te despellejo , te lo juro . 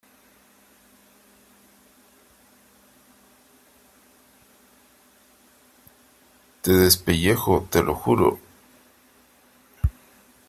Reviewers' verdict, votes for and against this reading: rejected, 2, 3